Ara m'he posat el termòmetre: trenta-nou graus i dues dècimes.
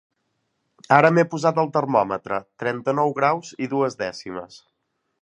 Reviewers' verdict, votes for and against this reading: accepted, 2, 0